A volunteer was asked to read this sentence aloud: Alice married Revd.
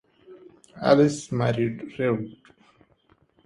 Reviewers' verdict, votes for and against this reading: accepted, 4, 0